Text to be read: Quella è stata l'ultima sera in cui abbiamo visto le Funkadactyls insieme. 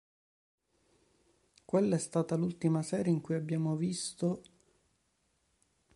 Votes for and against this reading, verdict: 0, 2, rejected